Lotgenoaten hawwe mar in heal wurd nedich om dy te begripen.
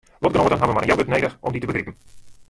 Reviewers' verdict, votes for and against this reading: rejected, 0, 2